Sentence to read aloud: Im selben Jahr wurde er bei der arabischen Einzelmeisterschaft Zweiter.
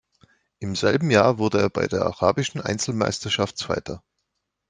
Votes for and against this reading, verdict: 2, 0, accepted